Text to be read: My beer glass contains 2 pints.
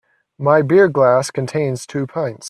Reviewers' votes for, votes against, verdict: 0, 2, rejected